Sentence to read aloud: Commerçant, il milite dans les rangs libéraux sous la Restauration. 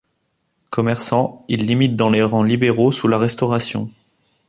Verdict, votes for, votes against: rejected, 1, 2